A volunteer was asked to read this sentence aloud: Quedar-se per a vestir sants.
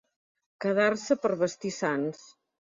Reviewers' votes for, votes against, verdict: 1, 2, rejected